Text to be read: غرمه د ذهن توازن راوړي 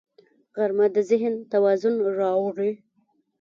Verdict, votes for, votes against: accepted, 2, 0